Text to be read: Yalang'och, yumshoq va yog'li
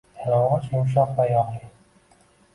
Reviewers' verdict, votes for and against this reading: accepted, 2, 1